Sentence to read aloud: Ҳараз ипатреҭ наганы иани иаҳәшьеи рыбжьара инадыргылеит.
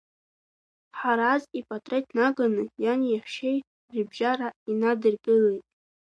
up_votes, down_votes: 2, 1